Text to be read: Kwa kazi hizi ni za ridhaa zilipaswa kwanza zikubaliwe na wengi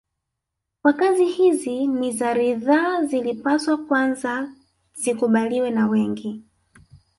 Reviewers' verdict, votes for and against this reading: rejected, 0, 2